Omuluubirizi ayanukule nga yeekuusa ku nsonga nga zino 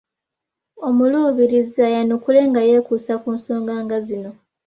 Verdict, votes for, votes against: accepted, 2, 0